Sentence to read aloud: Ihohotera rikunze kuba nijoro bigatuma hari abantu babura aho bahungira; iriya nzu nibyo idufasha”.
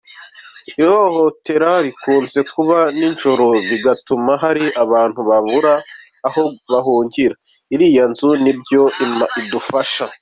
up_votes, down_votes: 2, 0